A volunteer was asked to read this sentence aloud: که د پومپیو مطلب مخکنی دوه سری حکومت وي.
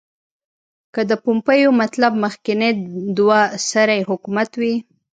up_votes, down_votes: 1, 2